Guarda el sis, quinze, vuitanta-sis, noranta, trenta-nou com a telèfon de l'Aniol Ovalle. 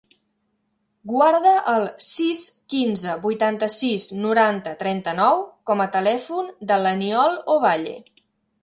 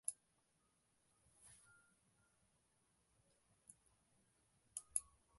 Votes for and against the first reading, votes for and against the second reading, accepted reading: 3, 0, 0, 2, first